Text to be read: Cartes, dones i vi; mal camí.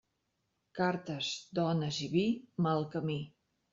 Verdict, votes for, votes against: accepted, 3, 0